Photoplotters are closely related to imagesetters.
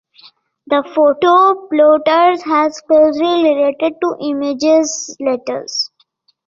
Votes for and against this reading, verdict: 1, 3, rejected